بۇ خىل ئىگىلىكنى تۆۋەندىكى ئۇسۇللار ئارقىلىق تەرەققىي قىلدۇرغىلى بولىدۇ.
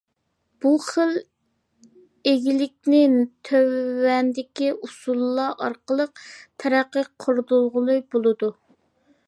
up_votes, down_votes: 1, 2